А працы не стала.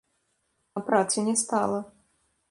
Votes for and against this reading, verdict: 1, 2, rejected